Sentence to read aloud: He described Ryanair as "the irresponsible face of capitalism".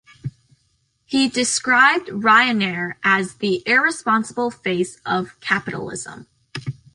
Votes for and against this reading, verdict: 1, 2, rejected